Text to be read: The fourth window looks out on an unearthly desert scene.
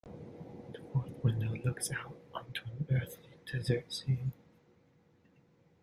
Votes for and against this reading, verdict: 1, 2, rejected